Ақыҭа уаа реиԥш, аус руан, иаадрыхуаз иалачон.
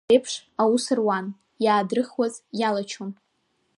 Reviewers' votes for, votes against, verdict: 3, 1, accepted